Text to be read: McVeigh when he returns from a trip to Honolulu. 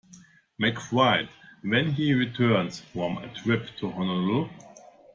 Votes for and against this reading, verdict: 1, 2, rejected